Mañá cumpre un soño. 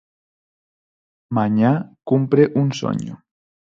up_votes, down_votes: 4, 0